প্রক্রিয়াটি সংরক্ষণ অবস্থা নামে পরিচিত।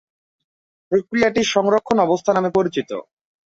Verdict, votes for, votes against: accepted, 6, 0